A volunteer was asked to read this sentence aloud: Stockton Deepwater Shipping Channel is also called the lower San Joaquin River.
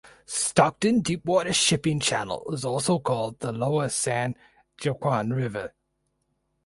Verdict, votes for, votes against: rejected, 2, 4